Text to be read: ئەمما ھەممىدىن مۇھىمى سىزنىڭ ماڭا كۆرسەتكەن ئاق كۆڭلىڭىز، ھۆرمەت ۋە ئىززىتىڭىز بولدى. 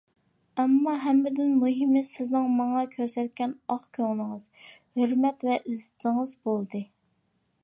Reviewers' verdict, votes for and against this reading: accepted, 2, 1